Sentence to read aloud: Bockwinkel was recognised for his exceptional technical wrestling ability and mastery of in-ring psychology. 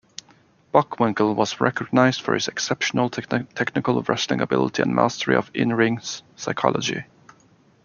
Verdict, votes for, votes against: accepted, 2, 0